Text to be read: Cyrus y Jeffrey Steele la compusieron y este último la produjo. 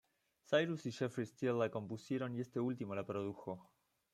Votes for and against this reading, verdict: 2, 0, accepted